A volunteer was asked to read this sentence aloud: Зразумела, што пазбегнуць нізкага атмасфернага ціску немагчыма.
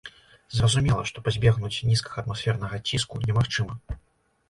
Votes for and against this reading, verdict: 2, 0, accepted